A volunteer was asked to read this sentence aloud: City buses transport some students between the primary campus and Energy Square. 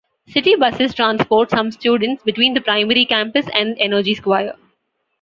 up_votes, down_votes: 2, 0